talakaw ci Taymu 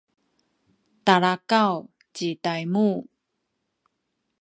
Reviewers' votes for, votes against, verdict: 2, 0, accepted